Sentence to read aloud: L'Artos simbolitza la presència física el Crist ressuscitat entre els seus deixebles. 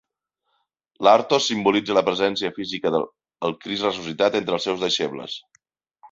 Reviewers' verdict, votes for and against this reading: rejected, 0, 2